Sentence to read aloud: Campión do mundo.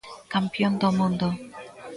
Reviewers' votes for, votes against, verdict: 0, 2, rejected